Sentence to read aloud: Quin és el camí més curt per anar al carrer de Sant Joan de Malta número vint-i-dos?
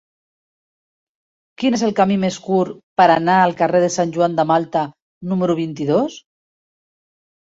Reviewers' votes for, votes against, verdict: 2, 0, accepted